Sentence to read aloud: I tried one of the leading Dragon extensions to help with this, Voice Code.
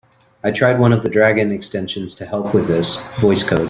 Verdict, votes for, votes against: rejected, 0, 3